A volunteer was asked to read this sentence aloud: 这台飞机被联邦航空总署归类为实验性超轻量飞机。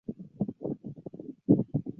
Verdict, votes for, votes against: rejected, 0, 3